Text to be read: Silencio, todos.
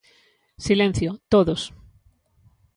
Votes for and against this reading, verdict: 2, 0, accepted